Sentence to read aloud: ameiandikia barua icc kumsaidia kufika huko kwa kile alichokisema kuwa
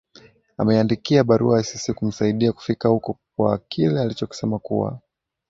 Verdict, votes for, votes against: accepted, 2, 0